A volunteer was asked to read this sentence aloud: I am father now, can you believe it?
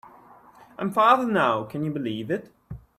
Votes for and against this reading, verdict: 3, 0, accepted